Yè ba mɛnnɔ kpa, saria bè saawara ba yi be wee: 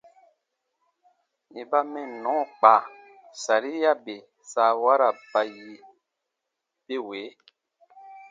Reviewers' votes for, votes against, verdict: 2, 0, accepted